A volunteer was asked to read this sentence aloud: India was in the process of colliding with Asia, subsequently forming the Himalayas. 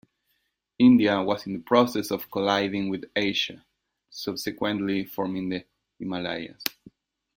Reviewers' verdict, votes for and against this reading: accepted, 2, 0